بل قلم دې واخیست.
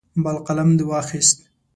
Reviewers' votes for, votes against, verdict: 2, 0, accepted